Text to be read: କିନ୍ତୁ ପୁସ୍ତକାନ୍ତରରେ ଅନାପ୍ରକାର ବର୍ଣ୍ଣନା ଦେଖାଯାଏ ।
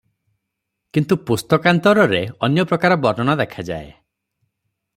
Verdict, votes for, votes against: accepted, 3, 0